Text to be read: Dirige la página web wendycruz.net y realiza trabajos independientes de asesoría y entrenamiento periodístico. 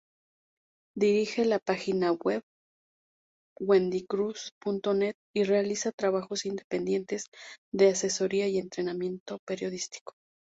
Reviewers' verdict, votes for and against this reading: accepted, 2, 0